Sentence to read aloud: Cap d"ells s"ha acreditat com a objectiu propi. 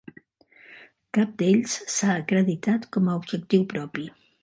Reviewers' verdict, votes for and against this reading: accepted, 2, 0